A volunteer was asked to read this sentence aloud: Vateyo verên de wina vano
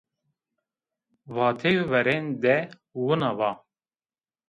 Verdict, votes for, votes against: rejected, 0, 2